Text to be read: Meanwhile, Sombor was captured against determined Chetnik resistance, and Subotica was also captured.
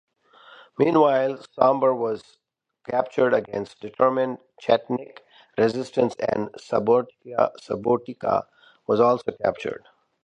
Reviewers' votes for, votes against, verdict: 0, 2, rejected